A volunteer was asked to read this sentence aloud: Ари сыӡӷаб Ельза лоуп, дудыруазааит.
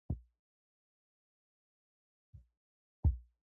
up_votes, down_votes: 0, 2